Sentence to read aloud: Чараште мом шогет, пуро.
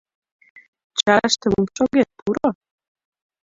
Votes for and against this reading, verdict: 2, 0, accepted